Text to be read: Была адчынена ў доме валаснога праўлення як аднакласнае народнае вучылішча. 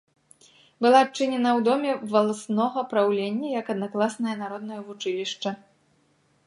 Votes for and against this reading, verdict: 2, 0, accepted